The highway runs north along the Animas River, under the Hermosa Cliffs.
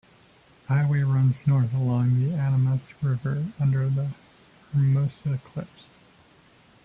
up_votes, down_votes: 1, 2